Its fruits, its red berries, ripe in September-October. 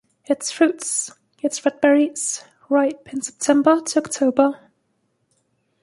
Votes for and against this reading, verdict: 2, 0, accepted